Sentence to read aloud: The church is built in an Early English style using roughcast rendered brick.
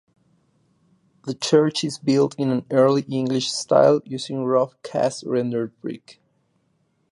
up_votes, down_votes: 2, 0